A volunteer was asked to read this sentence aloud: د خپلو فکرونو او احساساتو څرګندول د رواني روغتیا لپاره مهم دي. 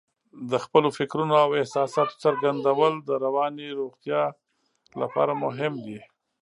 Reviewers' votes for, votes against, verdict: 1, 2, rejected